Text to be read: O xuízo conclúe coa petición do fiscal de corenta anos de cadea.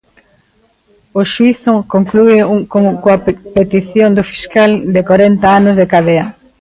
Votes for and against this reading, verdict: 0, 2, rejected